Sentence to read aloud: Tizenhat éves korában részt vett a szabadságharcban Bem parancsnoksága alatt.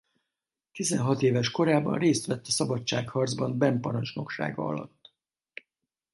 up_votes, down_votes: 2, 2